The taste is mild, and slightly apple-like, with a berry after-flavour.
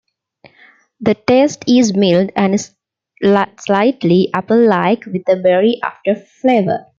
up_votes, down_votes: 1, 2